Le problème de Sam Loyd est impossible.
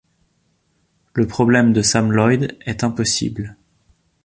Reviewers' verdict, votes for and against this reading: accepted, 2, 0